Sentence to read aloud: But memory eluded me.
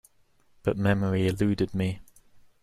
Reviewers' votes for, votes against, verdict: 2, 0, accepted